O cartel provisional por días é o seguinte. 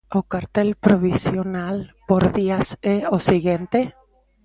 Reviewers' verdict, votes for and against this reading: rejected, 0, 2